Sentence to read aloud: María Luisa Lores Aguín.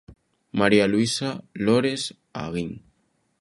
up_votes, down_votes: 2, 0